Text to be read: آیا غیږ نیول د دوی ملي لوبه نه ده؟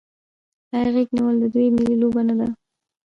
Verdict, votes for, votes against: rejected, 0, 2